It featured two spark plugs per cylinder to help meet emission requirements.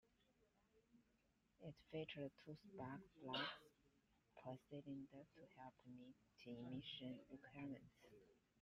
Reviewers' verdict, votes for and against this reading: rejected, 1, 2